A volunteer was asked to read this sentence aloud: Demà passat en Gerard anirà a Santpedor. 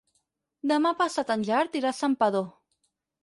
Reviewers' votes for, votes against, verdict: 2, 6, rejected